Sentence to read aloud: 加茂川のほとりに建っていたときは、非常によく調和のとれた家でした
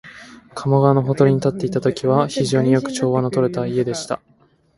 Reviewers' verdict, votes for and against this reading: accepted, 3, 0